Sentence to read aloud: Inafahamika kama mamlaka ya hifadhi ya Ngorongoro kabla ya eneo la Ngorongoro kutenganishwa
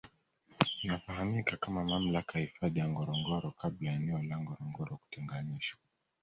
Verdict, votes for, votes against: accepted, 2, 0